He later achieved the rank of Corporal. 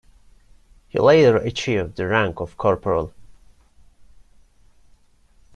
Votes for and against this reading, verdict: 2, 0, accepted